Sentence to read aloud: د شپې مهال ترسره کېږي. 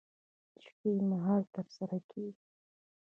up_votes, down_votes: 1, 2